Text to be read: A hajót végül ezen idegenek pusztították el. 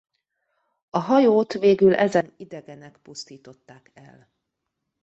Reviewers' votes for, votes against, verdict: 1, 2, rejected